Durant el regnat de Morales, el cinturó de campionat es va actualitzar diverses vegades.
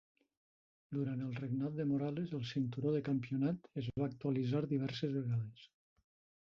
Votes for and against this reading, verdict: 0, 2, rejected